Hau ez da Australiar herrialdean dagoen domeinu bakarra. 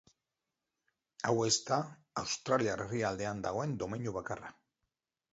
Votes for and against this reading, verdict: 2, 0, accepted